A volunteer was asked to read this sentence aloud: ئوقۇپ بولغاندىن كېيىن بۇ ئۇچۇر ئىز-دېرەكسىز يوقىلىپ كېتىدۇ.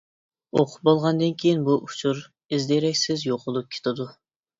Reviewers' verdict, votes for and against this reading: accepted, 2, 0